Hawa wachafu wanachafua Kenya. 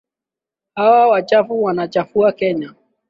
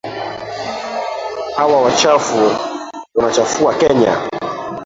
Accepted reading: first